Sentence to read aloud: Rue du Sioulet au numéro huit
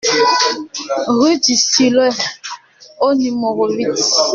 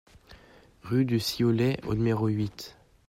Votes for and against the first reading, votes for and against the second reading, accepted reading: 1, 2, 2, 1, second